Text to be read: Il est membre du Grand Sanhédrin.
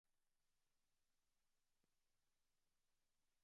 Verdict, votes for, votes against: rejected, 0, 2